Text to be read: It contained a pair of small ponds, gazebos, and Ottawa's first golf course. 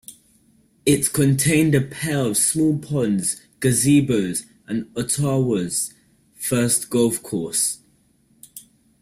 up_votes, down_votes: 2, 1